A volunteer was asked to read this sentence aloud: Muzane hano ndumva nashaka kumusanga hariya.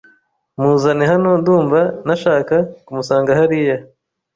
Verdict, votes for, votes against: accepted, 2, 0